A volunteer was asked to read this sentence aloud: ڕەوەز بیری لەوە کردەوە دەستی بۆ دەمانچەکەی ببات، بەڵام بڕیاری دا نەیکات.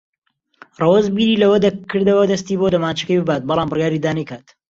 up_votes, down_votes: 1, 2